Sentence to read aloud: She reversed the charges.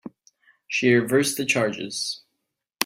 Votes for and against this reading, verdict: 3, 0, accepted